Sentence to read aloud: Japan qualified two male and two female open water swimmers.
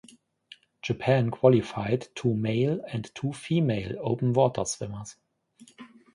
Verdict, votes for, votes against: accepted, 2, 0